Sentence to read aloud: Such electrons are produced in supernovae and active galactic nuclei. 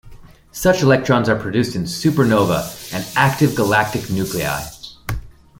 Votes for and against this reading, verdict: 1, 2, rejected